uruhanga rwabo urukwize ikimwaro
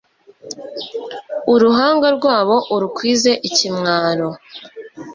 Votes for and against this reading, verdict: 2, 0, accepted